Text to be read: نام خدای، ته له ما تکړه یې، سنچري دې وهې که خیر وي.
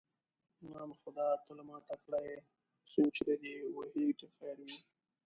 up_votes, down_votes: 1, 2